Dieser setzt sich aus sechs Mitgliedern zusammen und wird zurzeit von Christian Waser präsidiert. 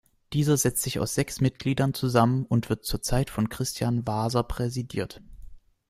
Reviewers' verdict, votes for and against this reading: accepted, 2, 0